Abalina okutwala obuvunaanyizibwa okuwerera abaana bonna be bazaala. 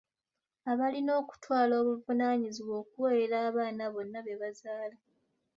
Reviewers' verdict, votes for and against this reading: accepted, 2, 0